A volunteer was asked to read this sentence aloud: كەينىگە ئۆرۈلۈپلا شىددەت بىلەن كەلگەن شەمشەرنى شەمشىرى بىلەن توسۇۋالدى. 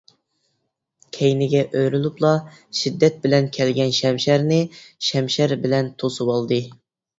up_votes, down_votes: 1, 2